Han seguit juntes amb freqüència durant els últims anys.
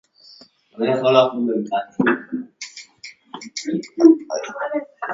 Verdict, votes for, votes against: rejected, 1, 2